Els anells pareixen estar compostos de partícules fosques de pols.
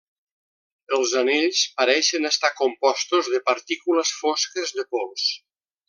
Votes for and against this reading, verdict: 3, 0, accepted